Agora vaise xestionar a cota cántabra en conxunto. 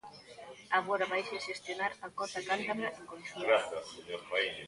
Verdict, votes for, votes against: accepted, 2, 1